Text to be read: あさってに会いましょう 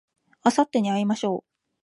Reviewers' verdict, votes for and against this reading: accepted, 2, 0